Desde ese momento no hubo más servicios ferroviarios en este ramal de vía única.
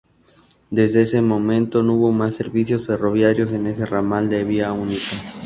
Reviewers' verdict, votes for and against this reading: accepted, 4, 0